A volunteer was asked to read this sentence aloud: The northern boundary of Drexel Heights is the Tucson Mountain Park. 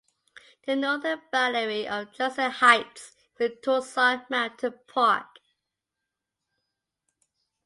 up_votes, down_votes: 2, 1